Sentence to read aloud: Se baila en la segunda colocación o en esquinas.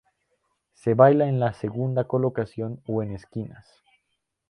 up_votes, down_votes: 4, 0